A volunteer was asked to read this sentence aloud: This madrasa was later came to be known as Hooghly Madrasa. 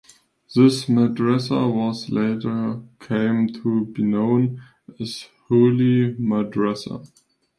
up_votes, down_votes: 2, 1